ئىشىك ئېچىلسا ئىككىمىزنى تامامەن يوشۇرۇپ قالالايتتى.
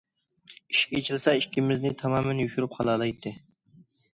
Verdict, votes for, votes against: accepted, 2, 0